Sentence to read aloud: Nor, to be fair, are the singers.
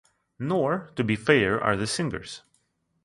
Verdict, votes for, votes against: accepted, 2, 1